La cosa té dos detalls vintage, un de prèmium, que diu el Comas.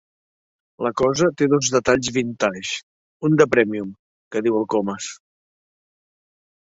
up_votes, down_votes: 2, 0